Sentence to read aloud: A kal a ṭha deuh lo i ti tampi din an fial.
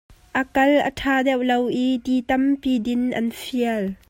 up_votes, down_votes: 2, 0